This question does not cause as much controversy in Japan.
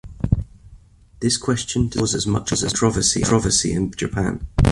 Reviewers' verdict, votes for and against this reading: accepted, 2, 1